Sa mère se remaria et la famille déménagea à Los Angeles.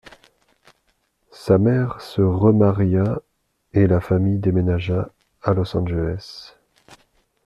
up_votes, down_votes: 2, 0